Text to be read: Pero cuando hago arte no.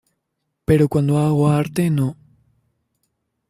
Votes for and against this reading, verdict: 2, 0, accepted